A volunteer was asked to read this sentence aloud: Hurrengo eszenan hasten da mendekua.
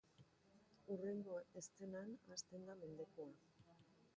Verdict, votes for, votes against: rejected, 0, 3